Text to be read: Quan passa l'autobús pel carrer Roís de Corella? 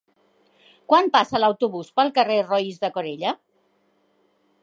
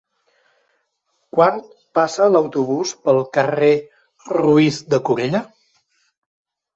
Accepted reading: first